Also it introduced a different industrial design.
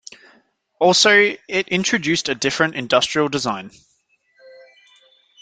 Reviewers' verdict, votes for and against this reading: accepted, 2, 0